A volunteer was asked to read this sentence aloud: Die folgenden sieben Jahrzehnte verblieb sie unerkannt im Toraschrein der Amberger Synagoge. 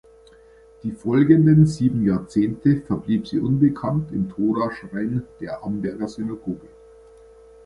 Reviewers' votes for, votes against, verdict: 1, 2, rejected